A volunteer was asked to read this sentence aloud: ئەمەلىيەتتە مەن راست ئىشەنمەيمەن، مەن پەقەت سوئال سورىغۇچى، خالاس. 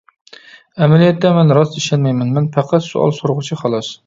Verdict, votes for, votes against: accepted, 2, 0